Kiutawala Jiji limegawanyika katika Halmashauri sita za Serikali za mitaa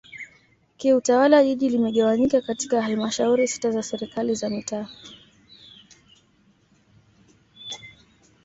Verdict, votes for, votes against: accepted, 2, 0